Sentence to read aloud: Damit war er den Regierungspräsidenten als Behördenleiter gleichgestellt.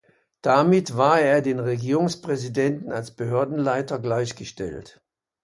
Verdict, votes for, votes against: accepted, 2, 0